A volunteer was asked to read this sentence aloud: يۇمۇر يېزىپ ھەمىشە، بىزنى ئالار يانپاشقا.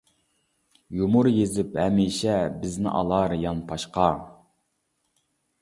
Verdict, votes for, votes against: accepted, 2, 0